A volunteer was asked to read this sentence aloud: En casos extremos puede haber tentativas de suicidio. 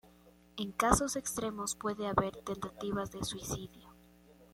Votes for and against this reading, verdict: 2, 0, accepted